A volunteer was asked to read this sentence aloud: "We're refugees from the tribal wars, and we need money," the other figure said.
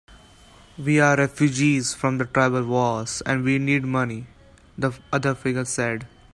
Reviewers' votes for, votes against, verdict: 5, 6, rejected